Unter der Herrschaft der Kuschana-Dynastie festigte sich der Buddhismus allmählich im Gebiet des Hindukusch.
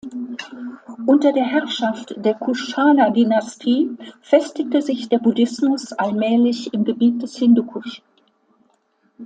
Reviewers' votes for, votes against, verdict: 2, 1, accepted